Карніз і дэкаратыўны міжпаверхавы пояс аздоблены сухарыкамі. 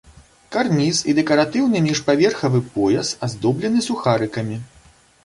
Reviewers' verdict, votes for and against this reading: rejected, 1, 2